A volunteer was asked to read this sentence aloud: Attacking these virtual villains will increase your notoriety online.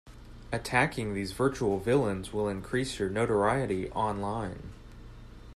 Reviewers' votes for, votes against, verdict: 2, 0, accepted